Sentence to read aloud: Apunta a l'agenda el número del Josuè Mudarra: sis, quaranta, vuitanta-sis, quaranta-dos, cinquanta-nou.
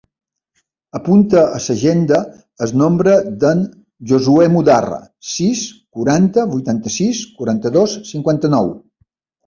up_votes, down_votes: 0, 2